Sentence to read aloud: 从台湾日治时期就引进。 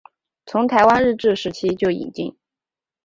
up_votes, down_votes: 3, 0